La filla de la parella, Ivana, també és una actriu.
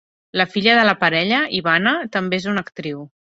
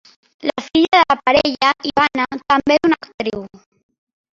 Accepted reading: first